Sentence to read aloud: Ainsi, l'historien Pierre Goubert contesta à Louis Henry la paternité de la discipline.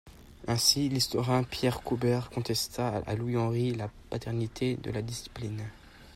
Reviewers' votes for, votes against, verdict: 2, 0, accepted